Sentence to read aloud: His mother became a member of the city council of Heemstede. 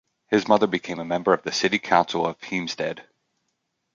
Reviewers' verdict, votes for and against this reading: accepted, 2, 0